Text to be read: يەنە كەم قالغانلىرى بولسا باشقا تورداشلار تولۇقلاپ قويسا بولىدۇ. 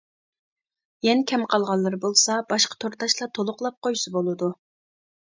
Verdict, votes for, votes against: rejected, 1, 2